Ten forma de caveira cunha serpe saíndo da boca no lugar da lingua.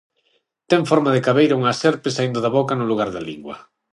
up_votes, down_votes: 3, 6